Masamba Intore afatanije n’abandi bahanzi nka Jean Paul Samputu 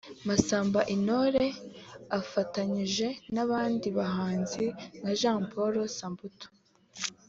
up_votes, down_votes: 3, 0